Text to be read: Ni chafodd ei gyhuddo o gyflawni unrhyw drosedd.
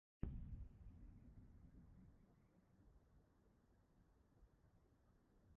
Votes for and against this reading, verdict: 0, 2, rejected